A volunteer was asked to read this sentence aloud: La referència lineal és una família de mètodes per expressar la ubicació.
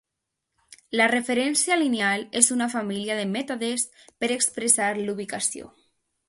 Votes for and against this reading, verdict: 2, 0, accepted